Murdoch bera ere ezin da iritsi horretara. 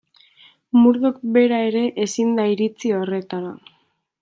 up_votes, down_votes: 2, 0